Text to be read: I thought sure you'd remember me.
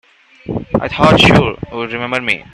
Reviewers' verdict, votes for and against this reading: rejected, 1, 2